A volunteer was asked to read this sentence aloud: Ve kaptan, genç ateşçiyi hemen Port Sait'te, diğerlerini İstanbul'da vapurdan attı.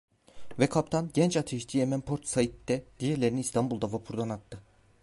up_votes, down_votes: 1, 2